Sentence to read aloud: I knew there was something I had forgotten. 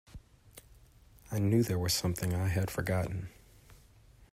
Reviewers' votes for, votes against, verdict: 2, 0, accepted